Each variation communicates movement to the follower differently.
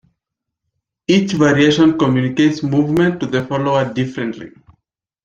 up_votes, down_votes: 2, 0